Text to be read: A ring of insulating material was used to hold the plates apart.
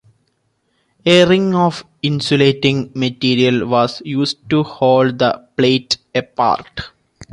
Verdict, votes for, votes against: accepted, 3, 2